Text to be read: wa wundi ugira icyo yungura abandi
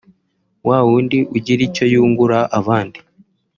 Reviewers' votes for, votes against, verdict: 1, 2, rejected